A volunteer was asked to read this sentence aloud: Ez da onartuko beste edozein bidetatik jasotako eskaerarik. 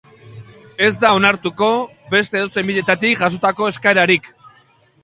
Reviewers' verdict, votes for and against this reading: accepted, 2, 0